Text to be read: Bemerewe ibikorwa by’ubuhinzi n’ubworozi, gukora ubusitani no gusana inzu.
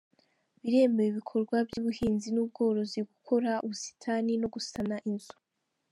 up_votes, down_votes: 0, 2